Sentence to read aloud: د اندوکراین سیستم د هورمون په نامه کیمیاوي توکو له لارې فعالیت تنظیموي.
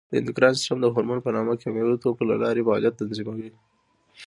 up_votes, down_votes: 2, 0